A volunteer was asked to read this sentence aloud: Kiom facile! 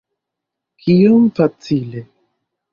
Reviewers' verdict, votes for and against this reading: accepted, 2, 0